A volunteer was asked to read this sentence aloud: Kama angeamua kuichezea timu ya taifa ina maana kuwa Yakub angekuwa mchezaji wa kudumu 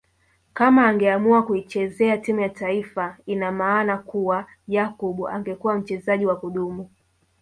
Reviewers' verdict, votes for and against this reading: rejected, 1, 2